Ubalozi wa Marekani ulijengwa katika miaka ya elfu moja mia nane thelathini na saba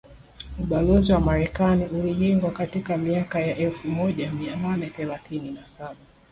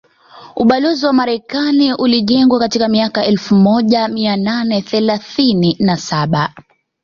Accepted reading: second